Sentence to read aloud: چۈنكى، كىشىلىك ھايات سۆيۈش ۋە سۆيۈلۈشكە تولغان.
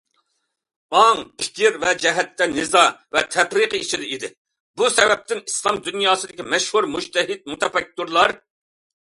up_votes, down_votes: 0, 2